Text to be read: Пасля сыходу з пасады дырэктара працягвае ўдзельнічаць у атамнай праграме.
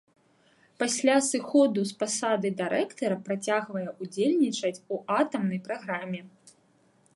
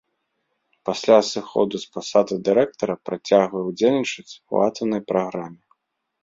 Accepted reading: second